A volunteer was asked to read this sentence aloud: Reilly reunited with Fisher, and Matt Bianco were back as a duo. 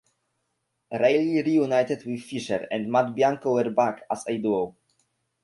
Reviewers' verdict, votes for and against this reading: rejected, 1, 2